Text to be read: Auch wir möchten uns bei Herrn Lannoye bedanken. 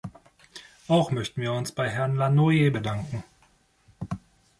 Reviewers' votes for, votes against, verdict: 1, 3, rejected